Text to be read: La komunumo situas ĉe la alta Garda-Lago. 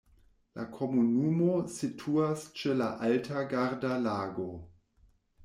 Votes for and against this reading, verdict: 2, 0, accepted